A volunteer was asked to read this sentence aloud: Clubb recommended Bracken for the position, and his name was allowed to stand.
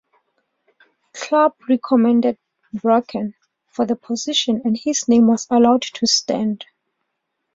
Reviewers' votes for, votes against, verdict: 2, 0, accepted